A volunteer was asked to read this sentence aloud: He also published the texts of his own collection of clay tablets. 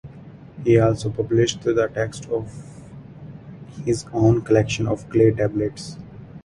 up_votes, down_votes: 0, 2